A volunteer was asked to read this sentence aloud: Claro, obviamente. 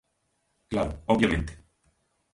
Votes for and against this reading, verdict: 2, 0, accepted